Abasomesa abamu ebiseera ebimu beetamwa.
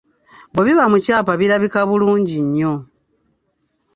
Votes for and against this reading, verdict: 1, 2, rejected